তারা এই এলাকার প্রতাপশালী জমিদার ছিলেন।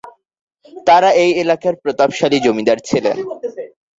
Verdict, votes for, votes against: accepted, 4, 0